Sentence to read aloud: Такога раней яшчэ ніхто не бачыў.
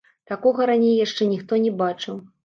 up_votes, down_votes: 1, 2